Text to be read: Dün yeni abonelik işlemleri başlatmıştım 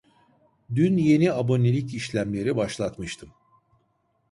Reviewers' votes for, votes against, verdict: 2, 0, accepted